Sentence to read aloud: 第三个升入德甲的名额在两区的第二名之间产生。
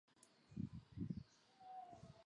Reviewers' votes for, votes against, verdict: 3, 1, accepted